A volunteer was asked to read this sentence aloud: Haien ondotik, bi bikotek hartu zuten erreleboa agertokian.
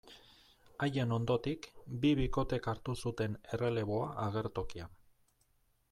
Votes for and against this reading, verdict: 2, 1, accepted